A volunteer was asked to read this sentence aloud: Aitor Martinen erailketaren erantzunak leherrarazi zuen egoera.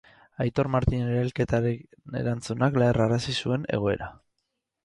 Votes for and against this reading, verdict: 2, 2, rejected